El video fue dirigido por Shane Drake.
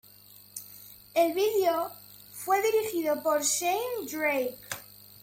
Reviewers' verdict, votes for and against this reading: accepted, 2, 1